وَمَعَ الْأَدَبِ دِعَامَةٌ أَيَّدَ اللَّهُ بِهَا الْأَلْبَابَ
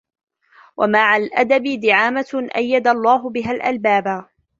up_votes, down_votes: 3, 1